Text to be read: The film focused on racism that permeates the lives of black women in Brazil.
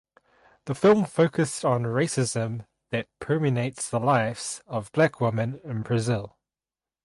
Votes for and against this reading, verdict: 2, 2, rejected